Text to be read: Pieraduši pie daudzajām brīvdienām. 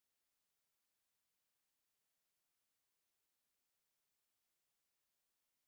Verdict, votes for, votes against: rejected, 0, 2